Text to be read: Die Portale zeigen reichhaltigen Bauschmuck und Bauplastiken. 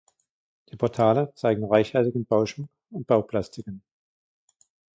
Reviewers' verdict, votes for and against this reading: accepted, 2, 1